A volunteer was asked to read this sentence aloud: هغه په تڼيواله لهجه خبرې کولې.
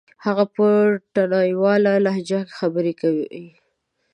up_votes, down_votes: 1, 2